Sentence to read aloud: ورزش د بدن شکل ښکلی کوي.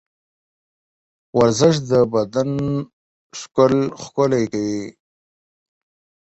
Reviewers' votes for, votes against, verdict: 0, 14, rejected